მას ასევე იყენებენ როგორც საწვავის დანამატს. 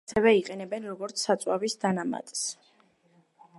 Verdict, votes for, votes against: rejected, 0, 2